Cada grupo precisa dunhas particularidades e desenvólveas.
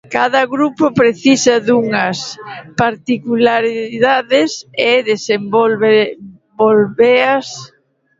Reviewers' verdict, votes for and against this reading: rejected, 0, 2